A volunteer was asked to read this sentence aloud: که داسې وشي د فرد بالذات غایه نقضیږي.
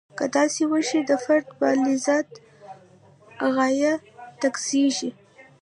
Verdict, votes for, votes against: rejected, 1, 2